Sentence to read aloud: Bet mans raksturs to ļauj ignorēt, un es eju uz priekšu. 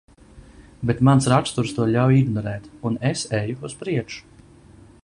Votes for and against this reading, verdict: 2, 0, accepted